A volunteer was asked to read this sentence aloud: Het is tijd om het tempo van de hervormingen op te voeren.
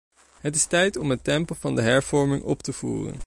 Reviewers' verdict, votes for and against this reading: rejected, 1, 2